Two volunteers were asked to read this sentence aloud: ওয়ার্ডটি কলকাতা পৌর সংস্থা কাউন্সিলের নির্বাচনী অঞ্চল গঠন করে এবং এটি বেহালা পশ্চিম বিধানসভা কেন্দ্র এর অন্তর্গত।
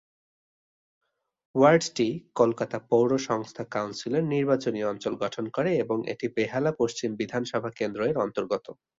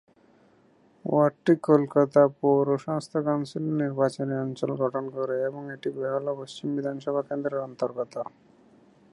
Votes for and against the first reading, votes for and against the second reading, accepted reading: 5, 1, 0, 2, first